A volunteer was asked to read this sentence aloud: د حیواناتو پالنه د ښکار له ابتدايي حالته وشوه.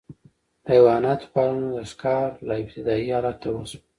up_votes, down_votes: 2, 0